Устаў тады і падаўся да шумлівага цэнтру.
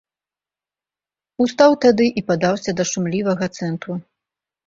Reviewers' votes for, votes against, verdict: 2, 0, accepted